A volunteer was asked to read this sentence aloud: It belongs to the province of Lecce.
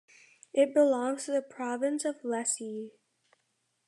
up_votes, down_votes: 2, 0